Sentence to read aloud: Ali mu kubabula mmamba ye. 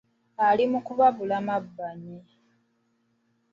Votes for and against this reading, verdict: 1, 2, rejected